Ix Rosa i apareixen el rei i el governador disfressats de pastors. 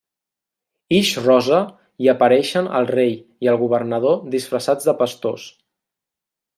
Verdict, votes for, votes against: accepted, 3, 0